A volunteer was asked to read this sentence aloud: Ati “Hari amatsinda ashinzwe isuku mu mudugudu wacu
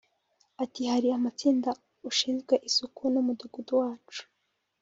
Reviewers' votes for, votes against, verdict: 1, 2, rejected